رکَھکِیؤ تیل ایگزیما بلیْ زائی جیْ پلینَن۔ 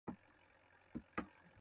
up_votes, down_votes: 0, 2